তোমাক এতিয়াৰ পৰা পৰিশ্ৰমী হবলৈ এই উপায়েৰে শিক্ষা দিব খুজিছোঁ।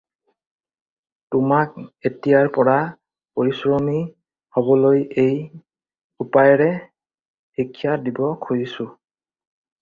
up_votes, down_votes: 4, 0